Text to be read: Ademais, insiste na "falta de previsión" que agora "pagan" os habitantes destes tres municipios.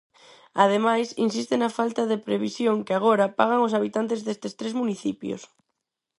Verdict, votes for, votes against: accepted, 4, 0